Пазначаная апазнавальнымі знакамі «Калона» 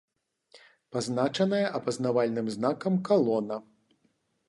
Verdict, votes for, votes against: rejected, 0, 2